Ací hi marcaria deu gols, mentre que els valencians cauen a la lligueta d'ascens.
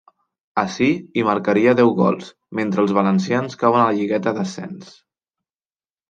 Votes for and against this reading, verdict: 1, 2, rejected